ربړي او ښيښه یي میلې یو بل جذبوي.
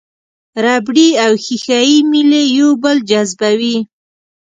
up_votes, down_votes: 1, 2